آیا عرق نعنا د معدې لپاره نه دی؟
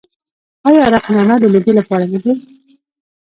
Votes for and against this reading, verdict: 0, 2, rejected